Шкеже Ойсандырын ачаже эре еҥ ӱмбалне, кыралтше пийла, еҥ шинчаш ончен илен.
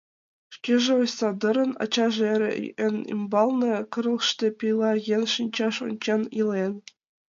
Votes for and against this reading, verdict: 0, 3, rejected